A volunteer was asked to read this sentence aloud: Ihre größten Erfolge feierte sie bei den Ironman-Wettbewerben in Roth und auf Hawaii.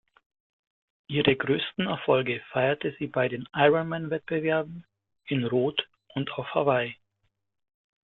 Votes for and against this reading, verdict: 2, 0, accepted